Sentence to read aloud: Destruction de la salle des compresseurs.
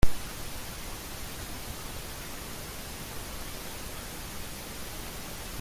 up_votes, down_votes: 0, 2